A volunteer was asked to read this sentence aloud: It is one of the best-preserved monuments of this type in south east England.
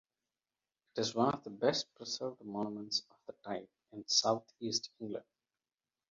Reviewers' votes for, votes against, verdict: 2, 0, accepted